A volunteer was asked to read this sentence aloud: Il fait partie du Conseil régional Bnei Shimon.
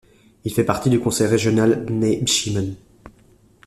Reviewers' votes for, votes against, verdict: 1, 2, rejected